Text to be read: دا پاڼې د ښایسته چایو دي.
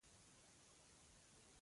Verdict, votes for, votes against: rejected, 1, 2